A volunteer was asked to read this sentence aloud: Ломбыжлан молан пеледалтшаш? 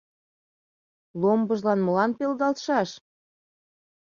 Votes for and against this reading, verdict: 0, 2, rejected